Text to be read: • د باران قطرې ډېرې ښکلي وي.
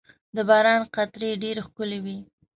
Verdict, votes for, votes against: accepted, 2, 0